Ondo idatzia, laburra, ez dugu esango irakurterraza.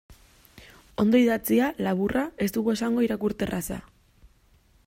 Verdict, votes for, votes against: accepted, 2, 0